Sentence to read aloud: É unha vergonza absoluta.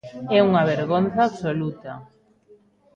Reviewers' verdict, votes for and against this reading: rejected, 1, 2